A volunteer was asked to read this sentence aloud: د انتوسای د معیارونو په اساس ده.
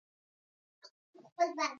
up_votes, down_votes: 1, 2